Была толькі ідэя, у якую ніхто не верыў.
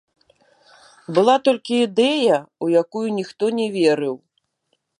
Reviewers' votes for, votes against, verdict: 2, 0, accepted